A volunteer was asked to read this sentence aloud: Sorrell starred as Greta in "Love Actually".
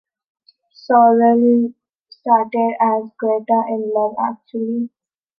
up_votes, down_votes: 1, 2